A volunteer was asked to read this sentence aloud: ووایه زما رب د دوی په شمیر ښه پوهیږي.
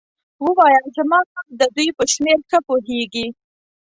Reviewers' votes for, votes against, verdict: 2, 0, accepted